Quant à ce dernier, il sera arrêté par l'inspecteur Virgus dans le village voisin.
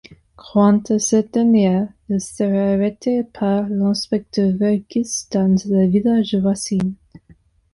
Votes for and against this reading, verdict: 0, 2, rejected